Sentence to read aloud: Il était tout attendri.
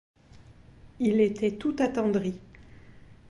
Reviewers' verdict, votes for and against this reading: accepted, 2, 0